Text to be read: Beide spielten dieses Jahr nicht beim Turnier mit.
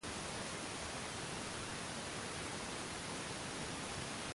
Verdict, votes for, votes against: rejected, 0, 2